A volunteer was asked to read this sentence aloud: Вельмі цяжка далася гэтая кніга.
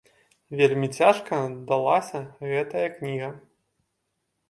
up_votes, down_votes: 2, 0